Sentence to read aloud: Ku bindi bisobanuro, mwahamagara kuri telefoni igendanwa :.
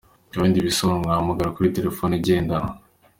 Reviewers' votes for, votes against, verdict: 2, 0, accepted